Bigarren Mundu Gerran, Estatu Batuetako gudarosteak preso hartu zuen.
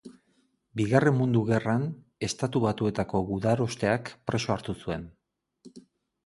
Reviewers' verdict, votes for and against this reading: accepted, 2, 0